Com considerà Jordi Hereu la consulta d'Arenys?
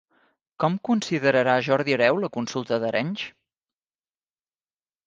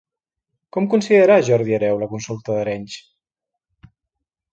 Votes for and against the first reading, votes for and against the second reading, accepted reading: 0, 2, 2, 1, second